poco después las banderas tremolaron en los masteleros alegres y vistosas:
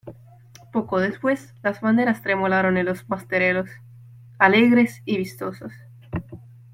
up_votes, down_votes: 1, 2